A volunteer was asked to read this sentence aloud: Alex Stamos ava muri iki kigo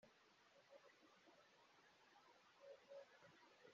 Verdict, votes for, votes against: rejected, 0, 2